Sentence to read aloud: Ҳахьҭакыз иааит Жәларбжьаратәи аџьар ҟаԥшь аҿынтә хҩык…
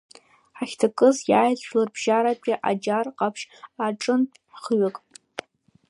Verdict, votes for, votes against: accepted, 3, 2